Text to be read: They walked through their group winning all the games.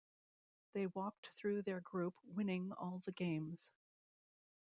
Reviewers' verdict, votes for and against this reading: accepted, 2, 0